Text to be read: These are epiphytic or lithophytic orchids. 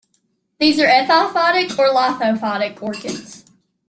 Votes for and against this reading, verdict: 0, 2, rejected